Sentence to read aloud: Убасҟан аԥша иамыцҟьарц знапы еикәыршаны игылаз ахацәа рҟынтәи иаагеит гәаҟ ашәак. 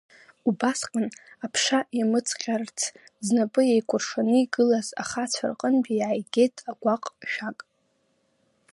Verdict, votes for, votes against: rejected, 2, 3